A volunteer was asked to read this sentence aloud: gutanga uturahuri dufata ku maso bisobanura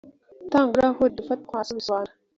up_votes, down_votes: 0, 2